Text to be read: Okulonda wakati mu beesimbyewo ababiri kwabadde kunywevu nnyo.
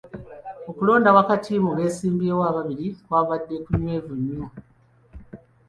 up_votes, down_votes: 2, 0